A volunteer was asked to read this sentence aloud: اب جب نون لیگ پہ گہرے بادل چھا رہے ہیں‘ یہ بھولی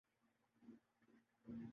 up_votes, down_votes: 3, 4